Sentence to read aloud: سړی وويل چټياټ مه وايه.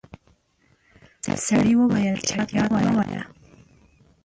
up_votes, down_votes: 0, 2